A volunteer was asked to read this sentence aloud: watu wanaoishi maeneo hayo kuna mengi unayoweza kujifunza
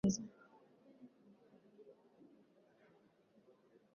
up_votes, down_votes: 0, 2